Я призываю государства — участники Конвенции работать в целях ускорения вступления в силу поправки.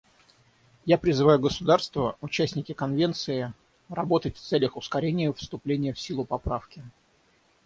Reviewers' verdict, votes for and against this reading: rejected, 3, 3